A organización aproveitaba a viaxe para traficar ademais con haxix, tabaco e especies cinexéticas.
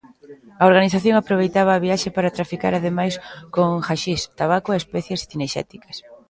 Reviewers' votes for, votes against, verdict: 1, 2, rejected